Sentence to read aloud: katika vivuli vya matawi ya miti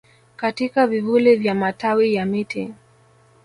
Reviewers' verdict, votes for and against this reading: rejected, 1, 2